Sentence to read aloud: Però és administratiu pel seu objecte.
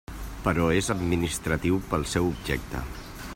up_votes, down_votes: 3, 0